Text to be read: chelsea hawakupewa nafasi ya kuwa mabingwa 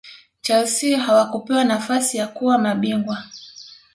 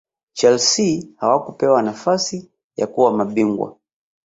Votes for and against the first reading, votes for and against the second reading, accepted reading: 2, 0, 1, 2, first